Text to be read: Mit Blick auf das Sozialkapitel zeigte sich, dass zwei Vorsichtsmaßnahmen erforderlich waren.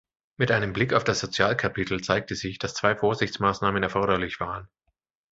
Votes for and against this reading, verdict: 1, 2, rejected